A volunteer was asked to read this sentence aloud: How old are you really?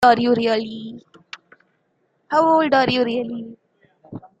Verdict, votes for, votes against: rejected, 0, 2